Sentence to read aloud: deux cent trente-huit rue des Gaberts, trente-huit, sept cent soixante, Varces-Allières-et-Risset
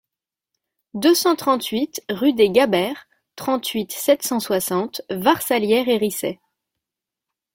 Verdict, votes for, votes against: accepted, 2, 0